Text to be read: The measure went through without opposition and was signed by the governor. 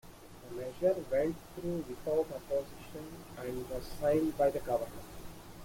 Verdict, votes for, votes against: rejected, 1, 2